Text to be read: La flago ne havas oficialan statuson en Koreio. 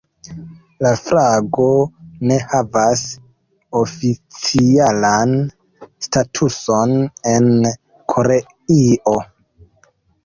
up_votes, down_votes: 0, 2